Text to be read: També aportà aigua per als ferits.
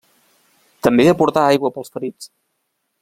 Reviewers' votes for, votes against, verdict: 1, 2, rejected